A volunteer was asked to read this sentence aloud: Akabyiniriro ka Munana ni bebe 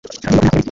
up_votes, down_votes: 1, 2